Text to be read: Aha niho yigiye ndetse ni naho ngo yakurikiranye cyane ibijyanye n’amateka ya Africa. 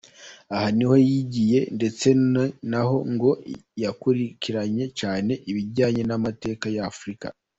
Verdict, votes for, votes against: rejected, 0, 2